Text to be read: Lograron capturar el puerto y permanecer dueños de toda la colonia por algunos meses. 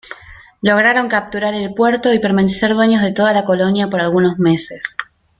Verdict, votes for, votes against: rejected, 1, 2